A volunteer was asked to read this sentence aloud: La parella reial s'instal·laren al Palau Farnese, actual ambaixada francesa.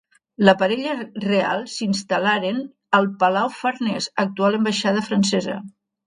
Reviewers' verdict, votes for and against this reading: rejected, 0, 3